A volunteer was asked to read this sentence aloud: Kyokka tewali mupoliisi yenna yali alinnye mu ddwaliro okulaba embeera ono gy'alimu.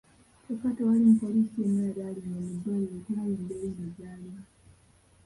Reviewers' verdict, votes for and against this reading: rejected, 0, 3